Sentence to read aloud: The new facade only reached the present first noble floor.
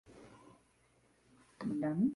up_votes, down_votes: 0, 2